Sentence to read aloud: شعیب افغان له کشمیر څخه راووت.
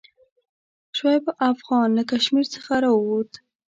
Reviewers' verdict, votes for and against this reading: rejected, 1, 2